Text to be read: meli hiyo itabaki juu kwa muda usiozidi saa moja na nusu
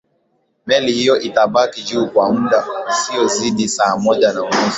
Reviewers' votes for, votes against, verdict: 9, 3, accepted